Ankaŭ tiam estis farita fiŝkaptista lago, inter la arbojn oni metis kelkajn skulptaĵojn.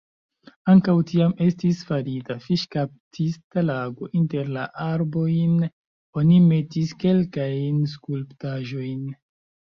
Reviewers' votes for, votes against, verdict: 2, 1, accepted